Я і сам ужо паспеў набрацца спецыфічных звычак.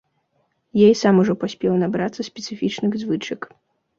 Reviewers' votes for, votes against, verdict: 2, 0, accepted